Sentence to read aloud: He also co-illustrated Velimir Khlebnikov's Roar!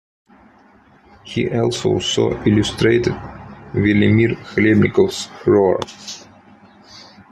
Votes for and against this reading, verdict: 0, 2, rejected